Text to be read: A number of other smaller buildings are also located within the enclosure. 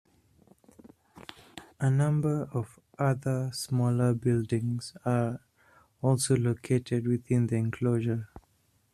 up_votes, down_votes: 0, 2